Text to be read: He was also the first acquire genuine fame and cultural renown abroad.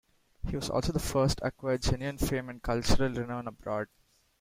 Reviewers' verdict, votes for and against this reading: rejected, 0, 2